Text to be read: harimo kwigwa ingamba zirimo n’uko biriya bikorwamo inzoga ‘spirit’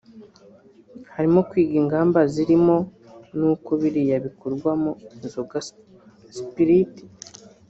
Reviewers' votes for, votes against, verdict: 1, 3, rejected